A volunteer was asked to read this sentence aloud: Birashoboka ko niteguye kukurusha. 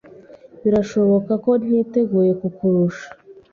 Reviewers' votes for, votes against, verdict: 2, 0, accepted